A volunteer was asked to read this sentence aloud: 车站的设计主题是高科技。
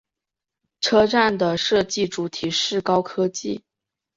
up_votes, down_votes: 2, 0